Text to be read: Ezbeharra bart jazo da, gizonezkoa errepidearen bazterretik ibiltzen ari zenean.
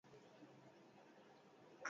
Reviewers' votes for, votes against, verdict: 0, 8, rejected